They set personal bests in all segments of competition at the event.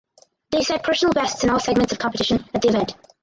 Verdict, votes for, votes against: accepted, 4, 2